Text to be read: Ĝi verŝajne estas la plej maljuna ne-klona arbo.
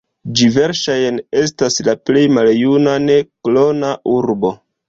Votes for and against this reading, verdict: 0, 2, rejected